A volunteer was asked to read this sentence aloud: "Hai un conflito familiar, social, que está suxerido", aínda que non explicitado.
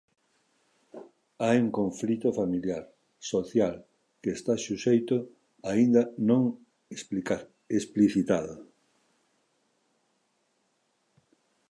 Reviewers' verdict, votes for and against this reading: rejected, 0, 2